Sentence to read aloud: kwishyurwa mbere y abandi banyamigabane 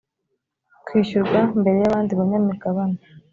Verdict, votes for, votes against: accepted, 2, 0